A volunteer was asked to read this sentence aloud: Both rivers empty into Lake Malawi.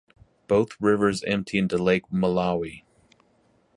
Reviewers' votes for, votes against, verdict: 4, 0, accepted